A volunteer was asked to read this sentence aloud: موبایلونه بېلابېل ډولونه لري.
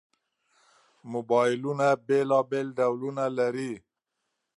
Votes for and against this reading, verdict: 2, 0, accepted